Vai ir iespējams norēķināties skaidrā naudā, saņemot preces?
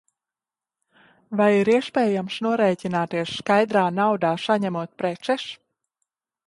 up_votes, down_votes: 4, 11